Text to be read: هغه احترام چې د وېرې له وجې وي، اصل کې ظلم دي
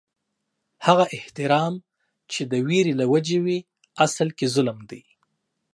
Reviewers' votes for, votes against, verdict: 2, 0, accepted